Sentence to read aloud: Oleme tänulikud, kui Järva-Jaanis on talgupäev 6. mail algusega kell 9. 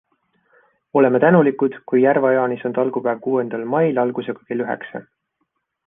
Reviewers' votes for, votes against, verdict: 0, 2, rejected